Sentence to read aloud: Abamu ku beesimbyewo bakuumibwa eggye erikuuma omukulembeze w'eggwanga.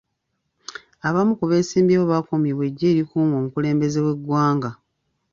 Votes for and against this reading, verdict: 2, 0, accepted